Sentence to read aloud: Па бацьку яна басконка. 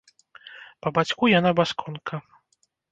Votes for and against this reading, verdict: 0, 2, rejected